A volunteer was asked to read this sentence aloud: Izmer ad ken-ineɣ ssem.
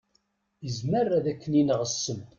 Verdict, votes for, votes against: accepted, 2, 0